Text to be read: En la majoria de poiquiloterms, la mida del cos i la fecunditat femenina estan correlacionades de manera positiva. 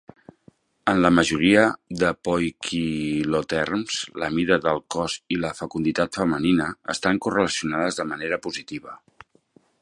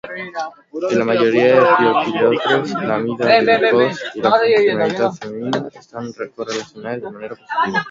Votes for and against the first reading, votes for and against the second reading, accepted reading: 2, 0, 1, 3, first